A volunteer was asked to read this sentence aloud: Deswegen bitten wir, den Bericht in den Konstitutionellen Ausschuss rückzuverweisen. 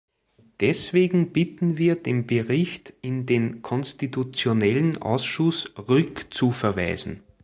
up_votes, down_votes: 2, 0